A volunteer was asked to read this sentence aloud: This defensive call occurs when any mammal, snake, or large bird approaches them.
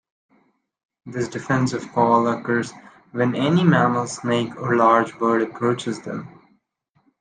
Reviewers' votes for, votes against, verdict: 2, 0, accepted